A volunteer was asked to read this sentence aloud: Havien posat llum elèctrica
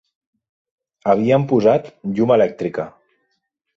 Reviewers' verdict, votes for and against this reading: accepted, 3, 0